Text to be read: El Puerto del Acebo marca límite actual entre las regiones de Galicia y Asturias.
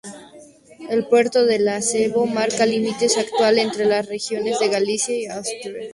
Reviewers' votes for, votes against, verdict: 2, 2, rejected